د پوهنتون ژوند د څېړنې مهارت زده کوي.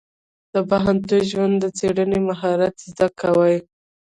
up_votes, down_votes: 0, 2